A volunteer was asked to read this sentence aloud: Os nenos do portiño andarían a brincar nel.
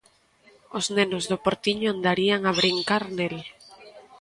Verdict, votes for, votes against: rejected, 1, 2